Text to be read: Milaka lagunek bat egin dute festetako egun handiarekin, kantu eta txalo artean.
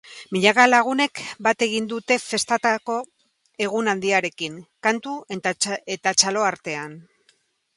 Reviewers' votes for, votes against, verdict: 0, 4, rejected